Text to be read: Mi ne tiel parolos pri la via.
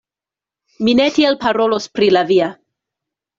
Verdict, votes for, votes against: accepted, 2, 1